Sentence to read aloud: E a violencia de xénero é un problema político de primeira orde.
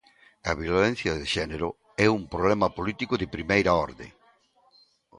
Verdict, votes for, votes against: rejected, 1, 2